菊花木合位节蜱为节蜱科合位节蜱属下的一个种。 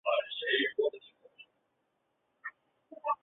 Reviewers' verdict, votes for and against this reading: rejected, 0, 2